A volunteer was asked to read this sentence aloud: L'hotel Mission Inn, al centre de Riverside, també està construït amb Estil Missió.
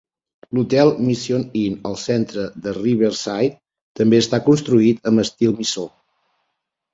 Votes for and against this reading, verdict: 0, 2, rejected